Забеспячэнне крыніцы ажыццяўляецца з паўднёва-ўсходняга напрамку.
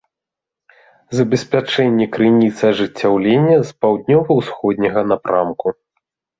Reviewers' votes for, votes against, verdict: 0, 2, rejected